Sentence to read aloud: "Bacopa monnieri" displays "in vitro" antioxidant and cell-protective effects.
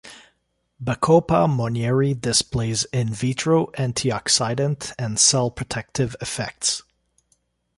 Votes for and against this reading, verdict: 2, 0, accepted